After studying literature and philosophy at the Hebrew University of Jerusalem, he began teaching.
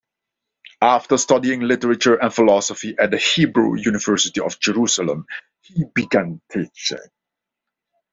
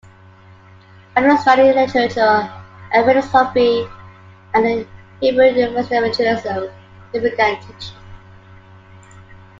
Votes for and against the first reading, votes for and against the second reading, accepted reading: 2, 0, 1, 3, first